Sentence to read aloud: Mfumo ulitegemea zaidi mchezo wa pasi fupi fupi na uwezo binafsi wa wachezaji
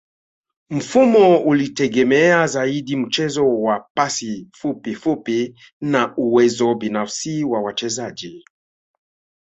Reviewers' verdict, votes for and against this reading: rejected, 0, 2